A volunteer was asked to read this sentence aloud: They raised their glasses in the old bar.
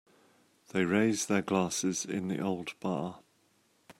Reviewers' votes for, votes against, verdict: 2, 0, accepted